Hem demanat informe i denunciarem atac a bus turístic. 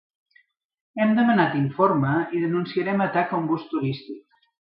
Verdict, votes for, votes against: rejected, 1, 2